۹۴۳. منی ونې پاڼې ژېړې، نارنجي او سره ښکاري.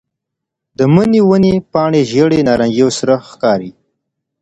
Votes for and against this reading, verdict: 0, 2, rejected